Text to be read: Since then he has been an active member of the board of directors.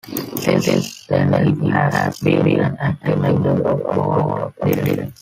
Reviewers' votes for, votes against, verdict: 0, 4, rejected